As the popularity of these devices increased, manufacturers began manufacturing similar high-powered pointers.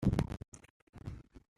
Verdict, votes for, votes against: rejected, 0, 2